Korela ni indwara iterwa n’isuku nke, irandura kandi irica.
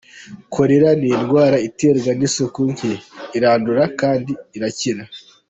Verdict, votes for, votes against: rejected, 0, 2